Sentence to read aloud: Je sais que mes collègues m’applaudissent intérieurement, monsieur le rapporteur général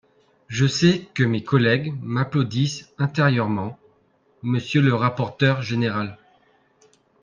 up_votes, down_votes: 4, 1